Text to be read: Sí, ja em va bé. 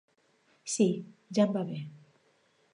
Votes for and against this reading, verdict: 3, 0, accepted